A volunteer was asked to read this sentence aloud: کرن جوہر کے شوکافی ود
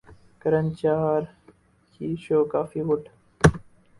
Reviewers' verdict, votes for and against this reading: rejected, 0, 2